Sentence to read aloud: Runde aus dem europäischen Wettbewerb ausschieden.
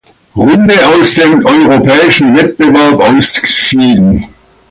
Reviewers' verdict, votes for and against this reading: rejected, 0, 2